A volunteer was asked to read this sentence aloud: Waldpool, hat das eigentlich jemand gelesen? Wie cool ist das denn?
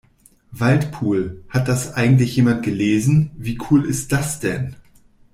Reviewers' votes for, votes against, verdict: 2, 0, accepted